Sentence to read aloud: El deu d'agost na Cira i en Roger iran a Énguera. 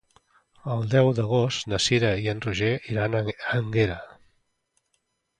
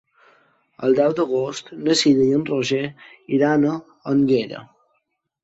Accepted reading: second